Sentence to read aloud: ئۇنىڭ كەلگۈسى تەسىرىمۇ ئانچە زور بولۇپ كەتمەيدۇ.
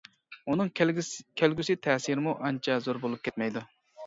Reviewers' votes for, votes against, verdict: 1, 2, rejected